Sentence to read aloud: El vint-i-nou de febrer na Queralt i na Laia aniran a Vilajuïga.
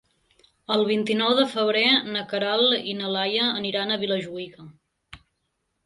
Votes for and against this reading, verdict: 2, 0, accepted